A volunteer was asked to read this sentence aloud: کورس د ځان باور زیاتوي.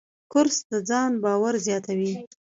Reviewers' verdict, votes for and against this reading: accepted, 2, 0